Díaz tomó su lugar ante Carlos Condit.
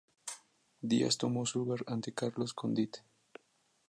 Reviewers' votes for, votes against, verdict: 2, 0, accepted